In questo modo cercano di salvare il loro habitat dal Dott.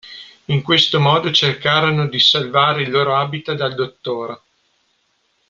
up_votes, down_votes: 0, 2